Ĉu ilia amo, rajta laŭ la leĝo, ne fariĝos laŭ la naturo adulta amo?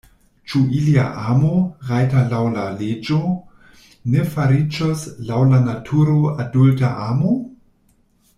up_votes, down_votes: 2, 0